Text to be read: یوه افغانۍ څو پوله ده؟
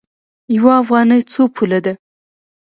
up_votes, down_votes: 2, 0